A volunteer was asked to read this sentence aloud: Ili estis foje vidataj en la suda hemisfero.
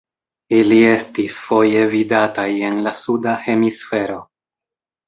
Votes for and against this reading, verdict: 1, 2, rejected